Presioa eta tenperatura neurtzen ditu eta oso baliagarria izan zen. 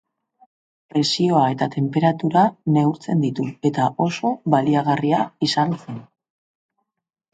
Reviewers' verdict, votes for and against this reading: rejected, 0, 3